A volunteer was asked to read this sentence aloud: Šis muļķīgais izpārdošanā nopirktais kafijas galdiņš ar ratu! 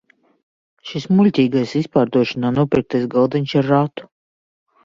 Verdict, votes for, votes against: rejected, 0, 2